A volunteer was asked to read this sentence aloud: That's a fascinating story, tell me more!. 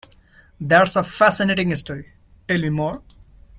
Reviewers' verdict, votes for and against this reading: accepted, 2, 0